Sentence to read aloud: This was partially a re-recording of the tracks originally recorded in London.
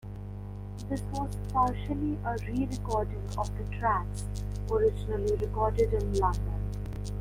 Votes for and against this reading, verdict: 1, 2, rejected